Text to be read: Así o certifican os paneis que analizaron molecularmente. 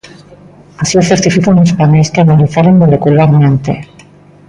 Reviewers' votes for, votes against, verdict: 0, 2, rejected